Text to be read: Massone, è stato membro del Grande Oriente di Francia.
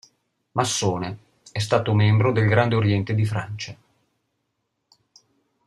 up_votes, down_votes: 2, 0